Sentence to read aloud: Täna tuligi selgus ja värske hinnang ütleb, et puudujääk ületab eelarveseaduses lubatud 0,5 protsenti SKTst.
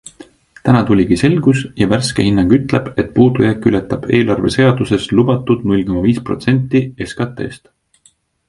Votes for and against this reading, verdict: 0, 2, rejected